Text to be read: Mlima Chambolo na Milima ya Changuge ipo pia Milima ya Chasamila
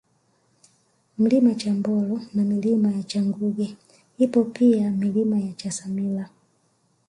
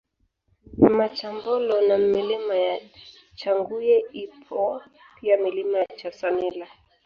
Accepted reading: first